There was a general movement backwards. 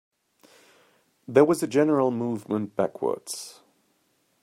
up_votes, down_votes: 2, 0